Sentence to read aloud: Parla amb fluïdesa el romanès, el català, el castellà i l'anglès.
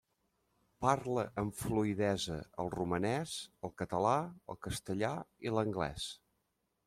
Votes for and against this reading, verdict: 2, 1, accepted